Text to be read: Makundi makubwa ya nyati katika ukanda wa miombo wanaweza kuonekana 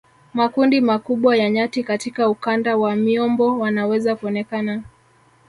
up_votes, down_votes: 1, 2